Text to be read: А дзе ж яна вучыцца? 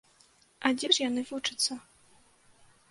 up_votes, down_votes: 0, 2